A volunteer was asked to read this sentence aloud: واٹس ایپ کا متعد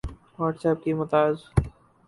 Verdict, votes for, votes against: rejected, 2, 2